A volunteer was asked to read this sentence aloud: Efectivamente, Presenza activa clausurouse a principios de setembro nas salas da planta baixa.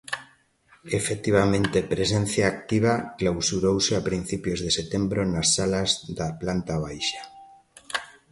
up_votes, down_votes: 0, 2